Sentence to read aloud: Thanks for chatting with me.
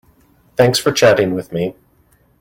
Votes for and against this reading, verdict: 2, 0, accepted